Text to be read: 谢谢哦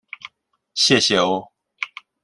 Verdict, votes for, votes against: accepted, 2, 0